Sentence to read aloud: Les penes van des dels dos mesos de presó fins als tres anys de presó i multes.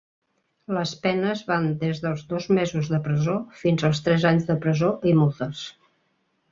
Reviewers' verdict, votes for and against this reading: accepted, 2, 0